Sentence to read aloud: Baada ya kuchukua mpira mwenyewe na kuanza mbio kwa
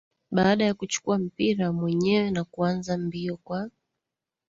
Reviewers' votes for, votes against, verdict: 1, 2, rejected